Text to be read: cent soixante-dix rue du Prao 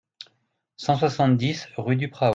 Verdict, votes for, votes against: rejected, 1, 2